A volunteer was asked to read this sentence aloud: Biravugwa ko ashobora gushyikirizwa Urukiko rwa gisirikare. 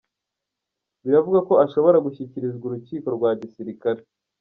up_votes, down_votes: 1, 2